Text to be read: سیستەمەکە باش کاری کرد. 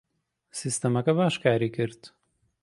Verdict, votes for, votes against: accepted, 2, 0